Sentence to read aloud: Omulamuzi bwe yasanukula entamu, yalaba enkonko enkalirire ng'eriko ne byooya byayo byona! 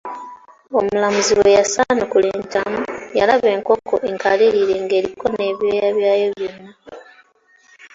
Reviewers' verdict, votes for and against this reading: accepted, 2, 0